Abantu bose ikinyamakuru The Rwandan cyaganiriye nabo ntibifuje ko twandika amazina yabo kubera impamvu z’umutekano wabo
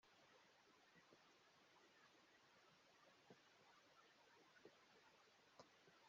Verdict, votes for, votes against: rejected, 0, 2